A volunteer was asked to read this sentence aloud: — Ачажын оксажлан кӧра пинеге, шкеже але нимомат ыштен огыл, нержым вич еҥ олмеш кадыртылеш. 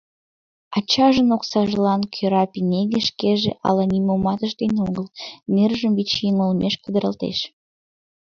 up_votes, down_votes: 1, 2